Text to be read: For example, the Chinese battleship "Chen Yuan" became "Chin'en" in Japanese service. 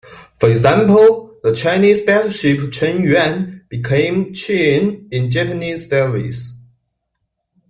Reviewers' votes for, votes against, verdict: 2, 0, accepted